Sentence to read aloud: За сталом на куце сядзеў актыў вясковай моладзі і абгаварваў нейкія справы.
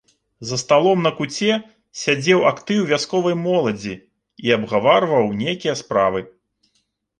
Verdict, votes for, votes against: accepted, 2, 0